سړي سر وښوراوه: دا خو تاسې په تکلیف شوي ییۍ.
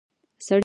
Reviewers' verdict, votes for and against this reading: rejected, 0, 2